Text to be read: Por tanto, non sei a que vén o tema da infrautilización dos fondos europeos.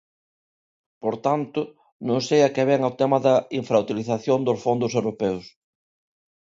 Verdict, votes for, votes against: accepted, 2, 0